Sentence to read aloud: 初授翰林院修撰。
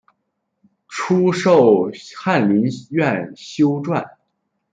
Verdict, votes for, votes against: rejected, 0, 2